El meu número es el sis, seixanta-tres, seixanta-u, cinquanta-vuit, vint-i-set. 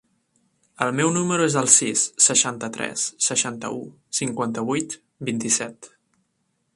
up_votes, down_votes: 3, 0